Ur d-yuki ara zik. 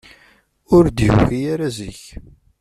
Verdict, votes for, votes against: rejected, 0, 2